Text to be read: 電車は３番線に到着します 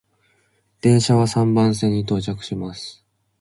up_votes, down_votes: 0, 2